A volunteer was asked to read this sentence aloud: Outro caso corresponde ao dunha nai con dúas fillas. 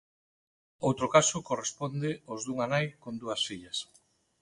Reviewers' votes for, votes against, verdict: 0, 2, rejected